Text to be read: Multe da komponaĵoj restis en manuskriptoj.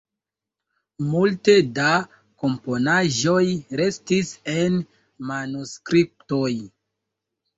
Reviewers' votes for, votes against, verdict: 2, 1, accepted